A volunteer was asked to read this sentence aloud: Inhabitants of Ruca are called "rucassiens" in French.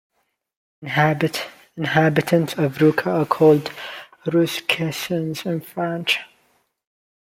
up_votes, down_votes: 0, 2